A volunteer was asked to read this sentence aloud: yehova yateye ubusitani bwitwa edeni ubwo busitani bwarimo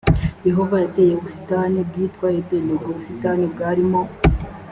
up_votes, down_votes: 2, 0